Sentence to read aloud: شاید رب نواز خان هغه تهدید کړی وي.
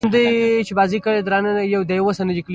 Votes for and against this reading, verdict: 2, 0, accepted